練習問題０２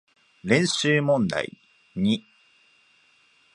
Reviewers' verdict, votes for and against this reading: rejected, 0, 2